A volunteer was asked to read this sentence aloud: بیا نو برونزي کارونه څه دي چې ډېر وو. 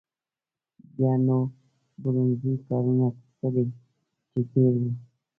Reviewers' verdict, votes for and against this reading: rejected, 1, 2